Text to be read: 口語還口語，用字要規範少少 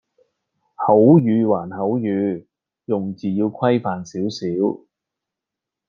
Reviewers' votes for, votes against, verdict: 2, 0, accepted